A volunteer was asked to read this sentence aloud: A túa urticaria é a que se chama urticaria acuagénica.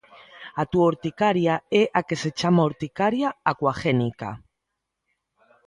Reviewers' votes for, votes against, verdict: 2, 0, accepted